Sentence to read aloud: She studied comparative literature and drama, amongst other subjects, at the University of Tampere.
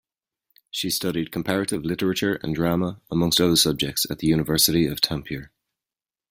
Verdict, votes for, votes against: accepted, 2, 0